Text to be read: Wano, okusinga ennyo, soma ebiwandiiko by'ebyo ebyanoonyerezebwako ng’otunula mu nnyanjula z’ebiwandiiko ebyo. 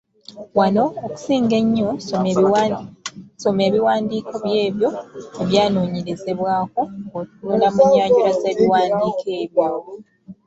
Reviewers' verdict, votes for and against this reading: rejected, 0, 2